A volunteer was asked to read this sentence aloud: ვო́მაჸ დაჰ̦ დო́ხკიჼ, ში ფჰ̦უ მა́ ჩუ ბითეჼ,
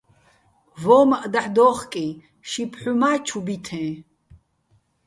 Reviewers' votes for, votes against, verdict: 2, 0, accepted